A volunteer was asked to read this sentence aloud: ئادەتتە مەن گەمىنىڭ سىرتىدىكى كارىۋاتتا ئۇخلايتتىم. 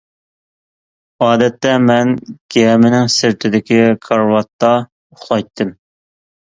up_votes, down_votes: 2, 0